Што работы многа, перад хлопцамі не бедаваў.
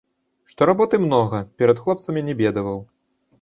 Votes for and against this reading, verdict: 0, 2, rejected